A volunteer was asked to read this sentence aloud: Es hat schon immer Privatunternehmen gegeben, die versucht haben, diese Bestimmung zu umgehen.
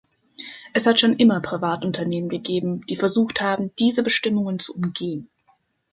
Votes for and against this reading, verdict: 1, 3, rejected